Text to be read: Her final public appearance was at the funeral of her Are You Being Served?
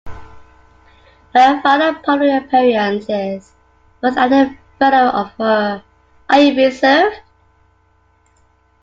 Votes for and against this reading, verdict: 0, 2, rejected